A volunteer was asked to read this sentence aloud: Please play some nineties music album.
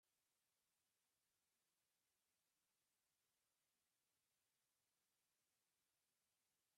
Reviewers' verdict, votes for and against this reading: rejected, 1, 2